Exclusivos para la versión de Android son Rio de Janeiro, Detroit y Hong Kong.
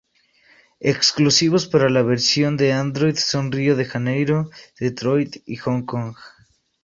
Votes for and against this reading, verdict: 2, 0, accepted